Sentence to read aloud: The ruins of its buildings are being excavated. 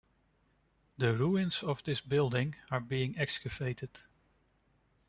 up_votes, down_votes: 0, 2